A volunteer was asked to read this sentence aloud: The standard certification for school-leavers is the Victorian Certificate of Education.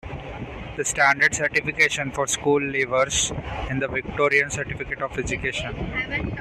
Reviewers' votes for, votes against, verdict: 1, 2, rejected